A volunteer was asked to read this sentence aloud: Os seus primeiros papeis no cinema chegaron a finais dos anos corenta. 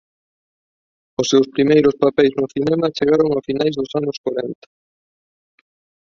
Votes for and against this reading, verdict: 3, 2, accepted